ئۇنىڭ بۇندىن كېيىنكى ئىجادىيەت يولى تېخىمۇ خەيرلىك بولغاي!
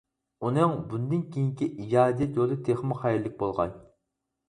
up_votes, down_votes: 2, 2